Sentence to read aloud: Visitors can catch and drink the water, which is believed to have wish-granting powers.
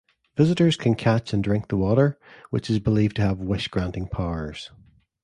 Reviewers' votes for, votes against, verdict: 2, 0, accepted